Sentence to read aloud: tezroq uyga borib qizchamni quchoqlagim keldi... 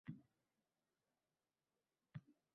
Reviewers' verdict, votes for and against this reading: rejected, 0, 2